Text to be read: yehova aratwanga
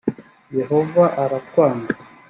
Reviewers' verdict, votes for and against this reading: accepted, 2, 0